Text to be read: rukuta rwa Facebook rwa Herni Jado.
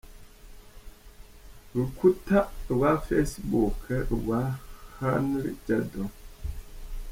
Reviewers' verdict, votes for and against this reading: accepted, 3, 0